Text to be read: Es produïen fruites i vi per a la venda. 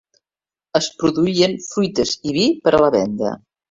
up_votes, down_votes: 3, 0